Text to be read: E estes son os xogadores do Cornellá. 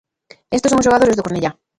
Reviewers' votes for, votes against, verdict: 0, 2, rejected